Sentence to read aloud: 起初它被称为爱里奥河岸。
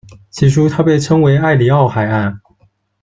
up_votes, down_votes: 1, 2